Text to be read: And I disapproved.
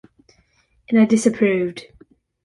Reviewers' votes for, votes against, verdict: 2, 0, accepted